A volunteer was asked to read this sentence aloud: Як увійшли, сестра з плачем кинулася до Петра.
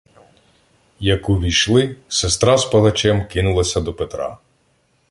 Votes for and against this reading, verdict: 0, 2, rejected